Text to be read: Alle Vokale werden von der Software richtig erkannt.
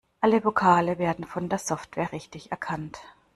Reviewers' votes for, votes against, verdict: 2, 0, accepted